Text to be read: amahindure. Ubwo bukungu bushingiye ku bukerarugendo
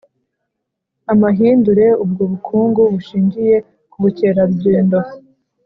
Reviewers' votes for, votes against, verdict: 3, 0, accepted